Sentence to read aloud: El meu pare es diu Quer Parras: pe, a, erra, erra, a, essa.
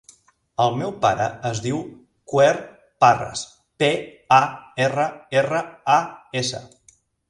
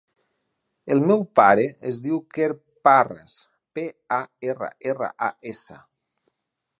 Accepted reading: second